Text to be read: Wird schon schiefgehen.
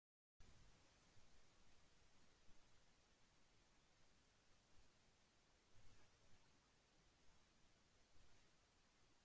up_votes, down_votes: 0, 2